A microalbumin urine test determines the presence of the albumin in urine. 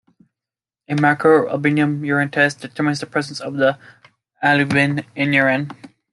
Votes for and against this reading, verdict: 1, 2, rejected